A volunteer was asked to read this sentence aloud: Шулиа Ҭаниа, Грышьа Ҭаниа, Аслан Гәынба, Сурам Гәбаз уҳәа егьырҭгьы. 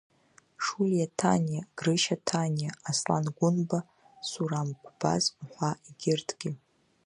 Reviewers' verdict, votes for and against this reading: rejected, 1, 2